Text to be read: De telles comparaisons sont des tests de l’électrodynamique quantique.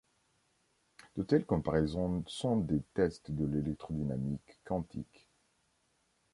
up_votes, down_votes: 2, 0